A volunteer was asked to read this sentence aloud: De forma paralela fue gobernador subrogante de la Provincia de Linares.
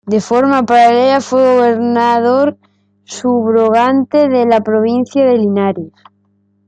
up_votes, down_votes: 2, 0